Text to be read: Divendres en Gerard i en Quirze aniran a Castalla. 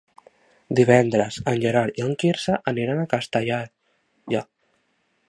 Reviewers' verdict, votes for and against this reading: rejected, 0, 3